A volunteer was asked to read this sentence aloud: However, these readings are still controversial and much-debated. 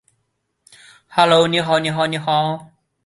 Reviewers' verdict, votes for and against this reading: rejected, 0, 2